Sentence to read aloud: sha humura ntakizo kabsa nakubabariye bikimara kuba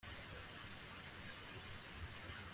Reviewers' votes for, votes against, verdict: 0, 2, rejected